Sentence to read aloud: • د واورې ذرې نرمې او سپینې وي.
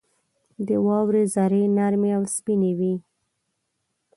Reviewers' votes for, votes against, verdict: 2, 0, accepted